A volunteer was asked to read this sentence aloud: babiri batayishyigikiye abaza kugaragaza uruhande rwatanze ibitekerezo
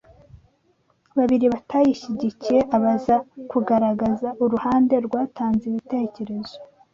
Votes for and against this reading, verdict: 2, 0, accepted